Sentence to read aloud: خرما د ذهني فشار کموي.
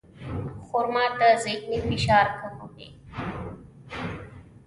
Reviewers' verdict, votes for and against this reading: rejected, 0, 2